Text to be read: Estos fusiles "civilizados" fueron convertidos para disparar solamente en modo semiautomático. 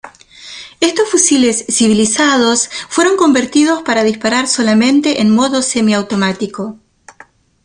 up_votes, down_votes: 2, 0